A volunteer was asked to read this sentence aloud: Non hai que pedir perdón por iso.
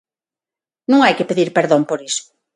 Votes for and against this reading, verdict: 6, 0, accepted